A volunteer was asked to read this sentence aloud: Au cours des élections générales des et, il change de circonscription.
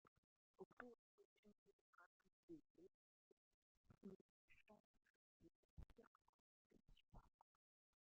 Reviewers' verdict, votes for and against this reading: rejected, 0, 2